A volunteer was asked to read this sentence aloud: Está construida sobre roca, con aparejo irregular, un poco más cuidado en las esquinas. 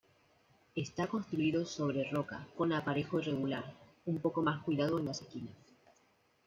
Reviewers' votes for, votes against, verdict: 1, 2, rejected